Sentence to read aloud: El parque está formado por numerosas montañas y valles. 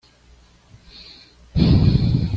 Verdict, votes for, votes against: rejected, 1, 2